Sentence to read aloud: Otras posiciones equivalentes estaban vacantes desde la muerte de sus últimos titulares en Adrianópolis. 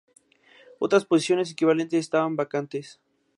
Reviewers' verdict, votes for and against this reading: rejected, 0, 2